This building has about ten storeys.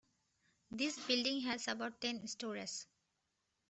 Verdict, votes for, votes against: rejected, 0, 2